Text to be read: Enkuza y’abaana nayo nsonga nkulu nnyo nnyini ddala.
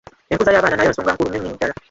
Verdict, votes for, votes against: rejected, 0, 2